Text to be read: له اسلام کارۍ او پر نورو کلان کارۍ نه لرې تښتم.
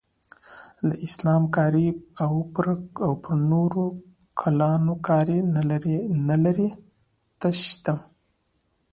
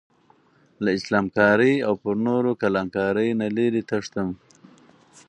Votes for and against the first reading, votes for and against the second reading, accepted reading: 1, 2, 4, 0, second